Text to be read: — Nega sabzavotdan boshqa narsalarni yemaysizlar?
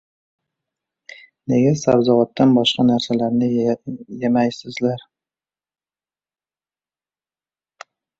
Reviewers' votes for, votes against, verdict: 0, 2, rejected